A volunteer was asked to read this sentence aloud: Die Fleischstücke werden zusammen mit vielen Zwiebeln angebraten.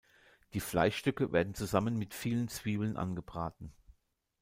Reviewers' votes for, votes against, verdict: 2, 0, accepted